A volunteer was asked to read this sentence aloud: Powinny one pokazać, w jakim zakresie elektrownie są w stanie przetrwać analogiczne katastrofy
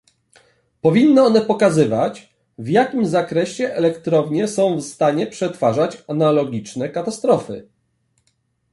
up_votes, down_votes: 0, 2